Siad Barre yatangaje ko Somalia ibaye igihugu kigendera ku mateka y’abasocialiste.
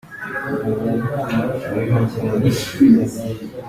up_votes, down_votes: 0, 2